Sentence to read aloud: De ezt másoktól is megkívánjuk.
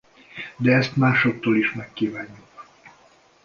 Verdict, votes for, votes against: accepted, 2, 0